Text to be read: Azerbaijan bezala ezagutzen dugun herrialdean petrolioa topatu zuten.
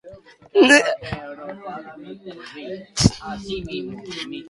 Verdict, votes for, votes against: rejected, 0, 3